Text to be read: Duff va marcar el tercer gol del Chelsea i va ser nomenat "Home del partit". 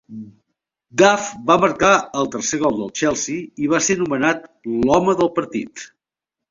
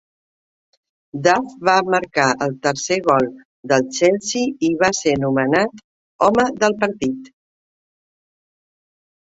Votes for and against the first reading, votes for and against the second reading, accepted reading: 1, 2, 3, 0, second